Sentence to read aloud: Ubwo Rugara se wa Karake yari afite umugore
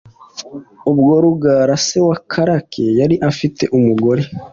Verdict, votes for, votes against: accepted, 3, 0